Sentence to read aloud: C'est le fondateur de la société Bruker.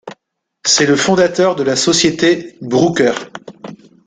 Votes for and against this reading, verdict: 0, 2, rejected